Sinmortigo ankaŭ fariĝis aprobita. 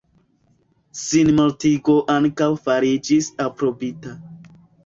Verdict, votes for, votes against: rejected, 0, 2